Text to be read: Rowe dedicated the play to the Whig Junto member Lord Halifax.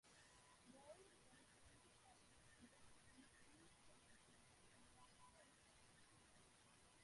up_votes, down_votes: 0, 2